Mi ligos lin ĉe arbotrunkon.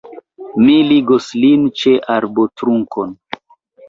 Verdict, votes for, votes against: accepted, 2, 0